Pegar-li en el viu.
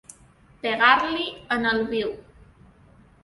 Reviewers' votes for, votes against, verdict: 2, 0, accepted